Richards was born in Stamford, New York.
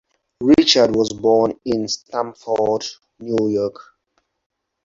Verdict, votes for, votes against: accepted, 4, 2